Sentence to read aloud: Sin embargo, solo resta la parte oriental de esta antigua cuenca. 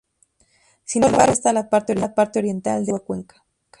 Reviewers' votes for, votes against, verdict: 2, 2, rejected